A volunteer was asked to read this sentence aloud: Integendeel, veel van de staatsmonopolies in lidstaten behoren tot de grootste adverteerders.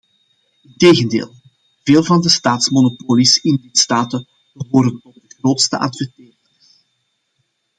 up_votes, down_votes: 0, 2